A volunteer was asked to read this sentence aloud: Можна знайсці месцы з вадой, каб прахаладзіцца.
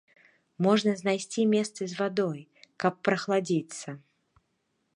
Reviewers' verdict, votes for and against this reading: rejected, 0, 2